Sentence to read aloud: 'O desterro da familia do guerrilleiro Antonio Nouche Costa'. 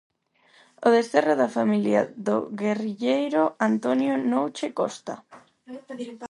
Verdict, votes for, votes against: rejected, 0, 4